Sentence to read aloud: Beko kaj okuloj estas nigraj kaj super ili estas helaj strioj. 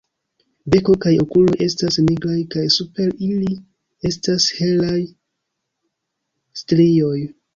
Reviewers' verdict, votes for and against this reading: rejected, 1, 2